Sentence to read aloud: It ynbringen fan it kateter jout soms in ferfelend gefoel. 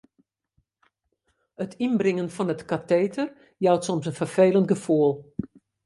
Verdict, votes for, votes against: accepted, 2, 0